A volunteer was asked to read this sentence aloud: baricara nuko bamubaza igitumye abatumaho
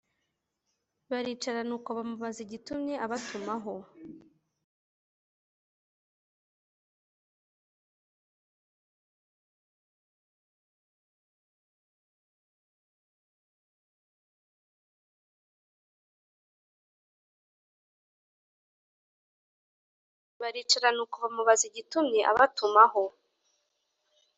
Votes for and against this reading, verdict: 1, 2, rejected